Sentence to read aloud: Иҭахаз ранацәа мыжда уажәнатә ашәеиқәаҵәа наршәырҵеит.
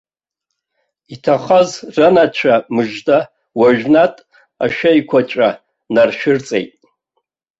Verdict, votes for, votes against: accepted, 2, 0